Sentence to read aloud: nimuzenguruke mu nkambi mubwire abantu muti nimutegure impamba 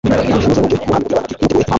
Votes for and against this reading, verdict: 1, 2, rejected